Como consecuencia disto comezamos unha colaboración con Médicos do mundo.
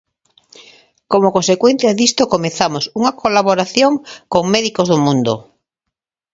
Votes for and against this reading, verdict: 2, 0, accepted